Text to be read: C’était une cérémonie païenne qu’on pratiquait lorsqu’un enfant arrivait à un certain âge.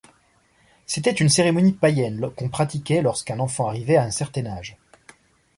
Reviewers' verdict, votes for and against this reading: accepted, 2, 0